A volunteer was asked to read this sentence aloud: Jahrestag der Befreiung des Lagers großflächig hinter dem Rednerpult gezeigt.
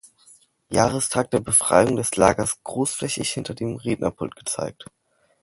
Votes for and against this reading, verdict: 2, 0, accepted